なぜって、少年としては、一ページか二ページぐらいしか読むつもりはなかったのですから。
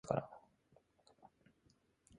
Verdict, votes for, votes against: rejected, 0, 2